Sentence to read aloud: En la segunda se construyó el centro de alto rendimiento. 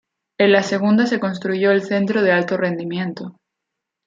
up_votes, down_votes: 2, 0